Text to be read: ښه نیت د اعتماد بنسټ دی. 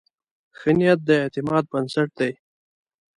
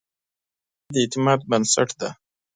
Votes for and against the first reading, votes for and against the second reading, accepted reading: 2, 0, 1, 2, first